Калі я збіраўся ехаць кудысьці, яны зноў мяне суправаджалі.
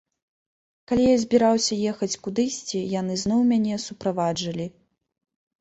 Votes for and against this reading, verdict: 1, 3, rejected